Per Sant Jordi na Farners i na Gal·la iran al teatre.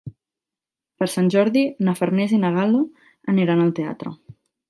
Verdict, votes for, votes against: rejected, 0, 2